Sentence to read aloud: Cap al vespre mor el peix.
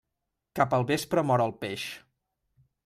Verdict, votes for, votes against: accepted, 2, 0